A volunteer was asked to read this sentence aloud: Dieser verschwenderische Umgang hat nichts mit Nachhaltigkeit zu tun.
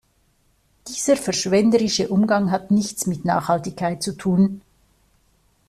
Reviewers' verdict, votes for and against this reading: accepted, 2, 0